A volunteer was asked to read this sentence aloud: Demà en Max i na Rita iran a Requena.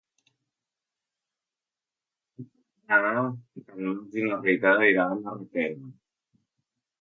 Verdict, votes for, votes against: rejected, 0, 2